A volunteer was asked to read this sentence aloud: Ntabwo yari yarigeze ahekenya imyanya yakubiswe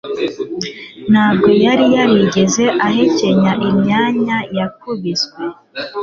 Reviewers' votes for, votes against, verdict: 2, 0, accepted